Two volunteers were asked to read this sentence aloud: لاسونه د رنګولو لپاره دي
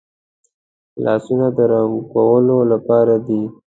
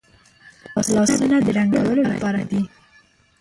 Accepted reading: first